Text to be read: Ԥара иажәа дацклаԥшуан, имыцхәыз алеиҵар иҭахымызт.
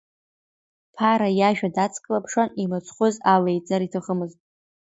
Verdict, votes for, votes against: accepted, 2, 1